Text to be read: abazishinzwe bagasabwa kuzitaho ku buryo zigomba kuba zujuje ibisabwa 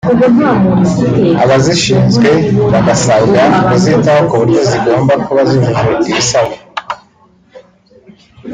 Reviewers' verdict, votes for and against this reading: rejected, 1, 2